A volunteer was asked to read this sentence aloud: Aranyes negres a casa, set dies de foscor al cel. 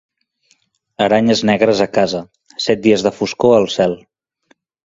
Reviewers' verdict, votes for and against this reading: accepted, 2, 0